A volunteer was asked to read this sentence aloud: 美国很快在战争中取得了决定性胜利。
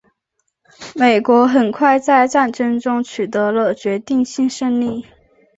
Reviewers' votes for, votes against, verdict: 4, 0, accepted